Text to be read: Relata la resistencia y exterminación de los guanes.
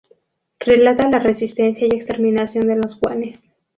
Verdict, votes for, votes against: rejected, 2, 4